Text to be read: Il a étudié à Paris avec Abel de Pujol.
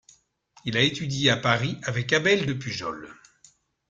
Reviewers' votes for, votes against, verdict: 2, 0, accepted